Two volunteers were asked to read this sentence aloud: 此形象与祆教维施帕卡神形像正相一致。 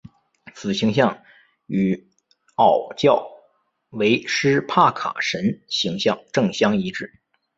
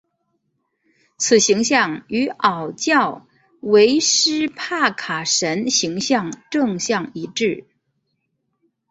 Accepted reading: first